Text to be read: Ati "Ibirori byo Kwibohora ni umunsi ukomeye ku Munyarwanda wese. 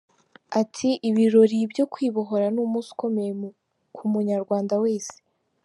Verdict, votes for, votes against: rejected, 1, 2